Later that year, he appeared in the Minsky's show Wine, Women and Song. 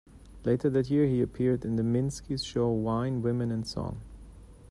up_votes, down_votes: 2, 0